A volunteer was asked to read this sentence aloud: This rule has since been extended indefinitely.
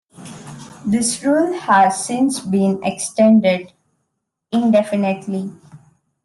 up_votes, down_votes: 2, 0